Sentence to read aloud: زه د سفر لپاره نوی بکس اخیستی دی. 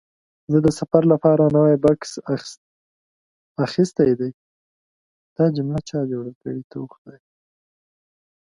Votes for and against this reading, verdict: 0, 2, rejected